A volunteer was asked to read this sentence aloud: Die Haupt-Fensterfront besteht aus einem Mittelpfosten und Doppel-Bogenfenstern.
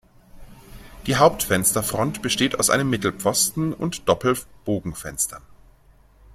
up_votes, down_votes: 2, 0